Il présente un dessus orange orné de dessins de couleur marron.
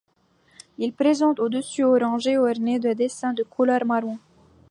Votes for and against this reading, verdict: 2, 1, accepted